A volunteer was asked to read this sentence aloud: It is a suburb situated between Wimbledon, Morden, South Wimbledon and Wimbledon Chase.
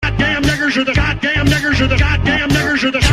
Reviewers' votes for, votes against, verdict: 0, 2, rejected